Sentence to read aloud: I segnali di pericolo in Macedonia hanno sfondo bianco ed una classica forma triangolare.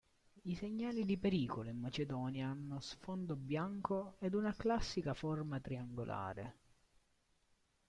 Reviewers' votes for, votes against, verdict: 2, 1, accepted